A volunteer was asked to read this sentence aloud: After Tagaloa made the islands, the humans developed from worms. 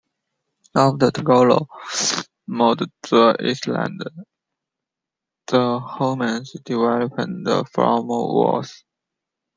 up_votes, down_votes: 0, 2